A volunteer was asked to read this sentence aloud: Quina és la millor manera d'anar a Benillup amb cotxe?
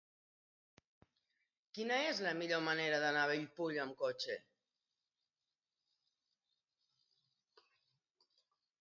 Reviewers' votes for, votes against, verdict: 0, 2, rejected